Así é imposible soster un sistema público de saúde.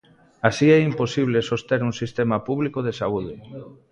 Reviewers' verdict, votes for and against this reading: rejected, 1, 2